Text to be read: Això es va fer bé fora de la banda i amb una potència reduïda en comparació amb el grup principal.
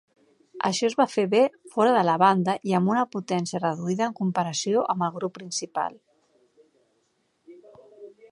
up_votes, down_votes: 3, 0